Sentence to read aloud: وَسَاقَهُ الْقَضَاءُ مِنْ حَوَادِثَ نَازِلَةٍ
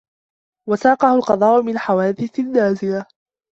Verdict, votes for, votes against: rejected, 0, 2